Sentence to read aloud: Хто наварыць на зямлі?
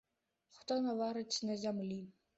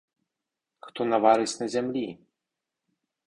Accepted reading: first